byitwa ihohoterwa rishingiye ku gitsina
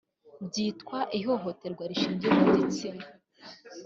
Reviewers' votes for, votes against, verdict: 2, 0, accepted